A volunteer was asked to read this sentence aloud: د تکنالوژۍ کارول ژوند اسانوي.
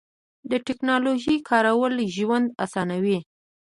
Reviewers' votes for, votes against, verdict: 2, 0, accepted